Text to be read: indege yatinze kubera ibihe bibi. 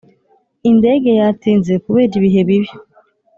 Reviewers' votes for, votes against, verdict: 2, 0, accepted